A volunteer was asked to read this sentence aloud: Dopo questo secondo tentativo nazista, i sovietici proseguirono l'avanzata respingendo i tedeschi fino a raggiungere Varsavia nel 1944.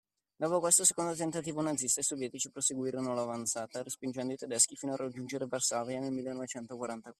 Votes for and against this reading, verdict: 0, 2, rejected